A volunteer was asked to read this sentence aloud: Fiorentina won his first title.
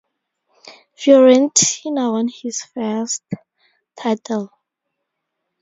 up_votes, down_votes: 0, 2